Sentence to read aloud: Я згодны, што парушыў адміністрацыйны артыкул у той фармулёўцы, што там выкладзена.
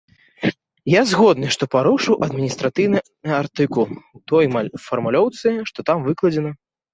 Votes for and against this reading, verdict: 0, 3, rejected